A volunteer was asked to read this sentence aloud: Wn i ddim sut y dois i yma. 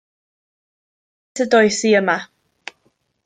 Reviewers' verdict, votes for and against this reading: rejected, 0, 2